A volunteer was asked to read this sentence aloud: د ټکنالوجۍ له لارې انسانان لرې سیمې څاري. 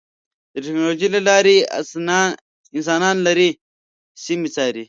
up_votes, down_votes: 0, 2